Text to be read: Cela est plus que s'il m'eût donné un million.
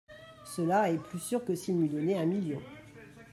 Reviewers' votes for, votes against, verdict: 0, 2, rejected